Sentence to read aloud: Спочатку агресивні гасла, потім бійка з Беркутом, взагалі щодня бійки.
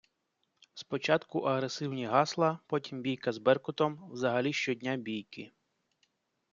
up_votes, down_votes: 2, 0